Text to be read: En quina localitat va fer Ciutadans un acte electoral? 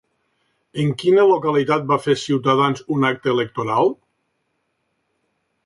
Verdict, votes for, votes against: accepted, 3, 0